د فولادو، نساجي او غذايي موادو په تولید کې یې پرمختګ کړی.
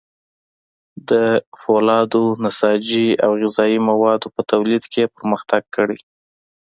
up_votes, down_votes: 2, 0